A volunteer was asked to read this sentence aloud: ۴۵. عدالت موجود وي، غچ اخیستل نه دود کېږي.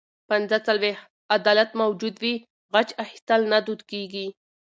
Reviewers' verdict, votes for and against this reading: rejected, 0, 2